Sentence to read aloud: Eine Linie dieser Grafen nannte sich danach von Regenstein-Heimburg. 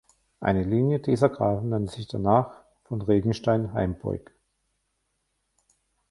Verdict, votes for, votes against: rejected, 1, 2